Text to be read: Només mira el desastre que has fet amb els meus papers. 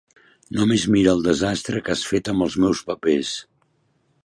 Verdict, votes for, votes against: accepted, 3, 0